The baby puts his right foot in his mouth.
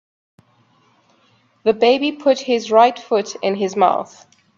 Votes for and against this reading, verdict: 1, 2, rejected